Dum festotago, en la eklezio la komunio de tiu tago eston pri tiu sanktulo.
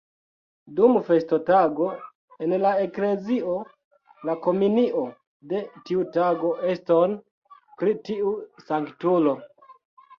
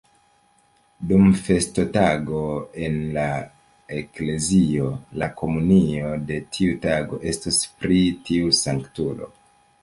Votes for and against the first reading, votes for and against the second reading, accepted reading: 1, 3, 2, 0, second